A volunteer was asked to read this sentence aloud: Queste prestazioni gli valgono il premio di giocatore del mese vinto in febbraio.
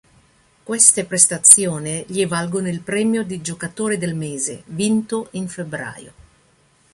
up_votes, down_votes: 1, 2